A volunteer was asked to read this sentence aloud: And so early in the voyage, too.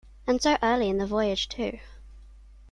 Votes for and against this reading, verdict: 2, 0, accepted